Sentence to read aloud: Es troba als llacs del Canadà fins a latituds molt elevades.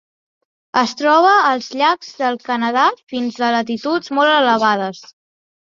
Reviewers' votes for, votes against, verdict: 2, 0, accepted